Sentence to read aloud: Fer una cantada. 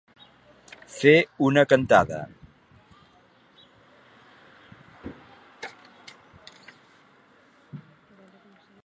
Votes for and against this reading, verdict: 2, 0, accepted